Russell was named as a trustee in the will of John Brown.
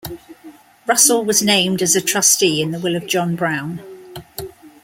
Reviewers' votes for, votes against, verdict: 2, 0, accepted